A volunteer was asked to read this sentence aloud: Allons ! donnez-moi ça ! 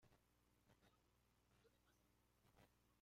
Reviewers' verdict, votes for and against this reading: rejected, 0, 2